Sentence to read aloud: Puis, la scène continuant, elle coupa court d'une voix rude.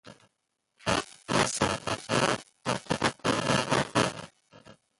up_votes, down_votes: 0, 3